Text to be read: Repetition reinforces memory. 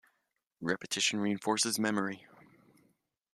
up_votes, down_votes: 2, 0